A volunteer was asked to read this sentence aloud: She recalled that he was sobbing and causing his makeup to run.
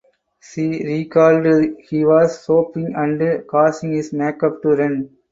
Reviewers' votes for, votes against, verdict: 2, 4, rejected